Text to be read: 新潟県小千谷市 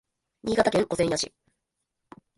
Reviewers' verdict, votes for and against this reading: rejected, 1, 2